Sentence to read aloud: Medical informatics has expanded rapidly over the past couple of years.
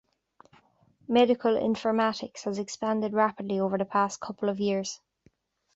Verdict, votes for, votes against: accepted, 2, 0